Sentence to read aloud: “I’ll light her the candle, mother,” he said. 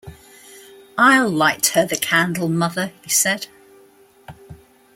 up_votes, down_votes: 2, 0